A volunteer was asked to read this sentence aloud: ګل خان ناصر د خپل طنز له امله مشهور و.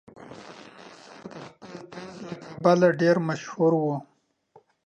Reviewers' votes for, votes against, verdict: 1, 2, rejected